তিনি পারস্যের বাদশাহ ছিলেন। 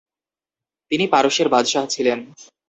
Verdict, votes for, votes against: accepted, 2, 0